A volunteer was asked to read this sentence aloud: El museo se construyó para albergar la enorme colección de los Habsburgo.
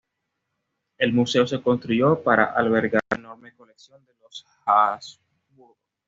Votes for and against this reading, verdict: 1, 2, rejected